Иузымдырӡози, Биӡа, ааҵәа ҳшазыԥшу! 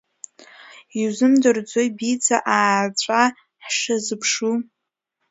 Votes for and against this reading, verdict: 2, 1, accepted